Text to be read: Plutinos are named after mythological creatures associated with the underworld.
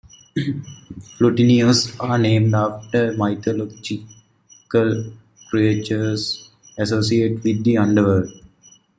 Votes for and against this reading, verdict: 0, 2, rejected